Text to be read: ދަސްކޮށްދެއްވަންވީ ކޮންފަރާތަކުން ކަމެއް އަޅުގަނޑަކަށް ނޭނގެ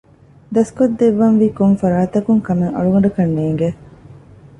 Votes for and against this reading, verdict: 2, 0, accepted